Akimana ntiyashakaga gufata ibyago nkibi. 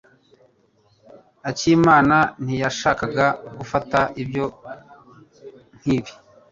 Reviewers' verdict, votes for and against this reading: rejected, 0, 2